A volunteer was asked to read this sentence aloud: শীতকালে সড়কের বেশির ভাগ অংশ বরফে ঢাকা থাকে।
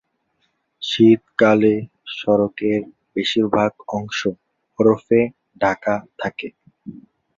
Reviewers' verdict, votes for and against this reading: rejected, 0, 2